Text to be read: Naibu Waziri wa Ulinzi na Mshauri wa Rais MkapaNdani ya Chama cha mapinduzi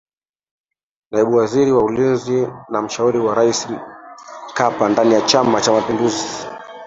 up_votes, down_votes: 0, 2